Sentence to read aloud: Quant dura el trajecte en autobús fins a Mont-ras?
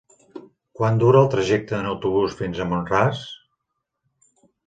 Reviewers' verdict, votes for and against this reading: accepted, 6, 0